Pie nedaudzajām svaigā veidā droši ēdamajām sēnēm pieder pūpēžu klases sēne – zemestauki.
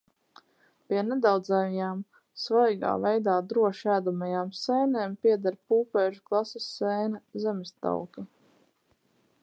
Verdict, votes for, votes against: rejected, 2, 2